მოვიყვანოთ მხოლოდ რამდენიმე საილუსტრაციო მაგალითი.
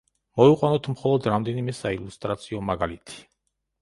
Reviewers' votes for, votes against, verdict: 2, 0, accepted